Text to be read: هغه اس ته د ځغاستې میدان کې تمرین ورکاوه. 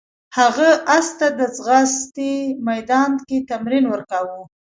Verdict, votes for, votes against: rejected, 1, 2